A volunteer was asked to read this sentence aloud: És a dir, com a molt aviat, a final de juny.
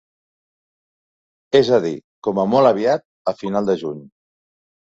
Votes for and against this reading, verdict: 3, 0, accepted